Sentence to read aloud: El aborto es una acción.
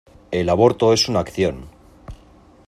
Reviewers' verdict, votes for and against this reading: accepted, 2, 0